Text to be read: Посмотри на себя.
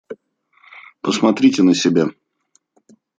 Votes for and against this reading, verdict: 0, 2, rejected